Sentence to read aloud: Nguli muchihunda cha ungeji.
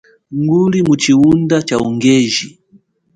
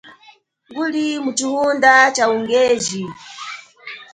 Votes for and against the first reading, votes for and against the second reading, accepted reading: 2, 0, 2, 4, first